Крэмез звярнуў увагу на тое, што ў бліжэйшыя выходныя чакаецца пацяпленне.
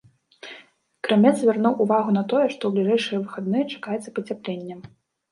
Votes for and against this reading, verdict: 0, 2, rejected